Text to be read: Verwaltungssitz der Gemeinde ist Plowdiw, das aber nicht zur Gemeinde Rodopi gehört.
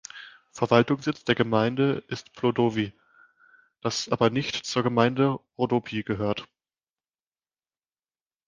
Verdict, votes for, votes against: rejected, 0, 2